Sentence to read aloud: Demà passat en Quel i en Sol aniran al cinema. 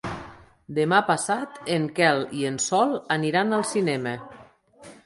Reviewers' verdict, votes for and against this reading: accepted, 3, 0